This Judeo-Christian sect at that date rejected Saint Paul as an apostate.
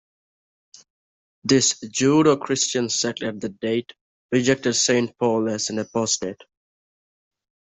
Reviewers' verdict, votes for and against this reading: rejected, 0, 2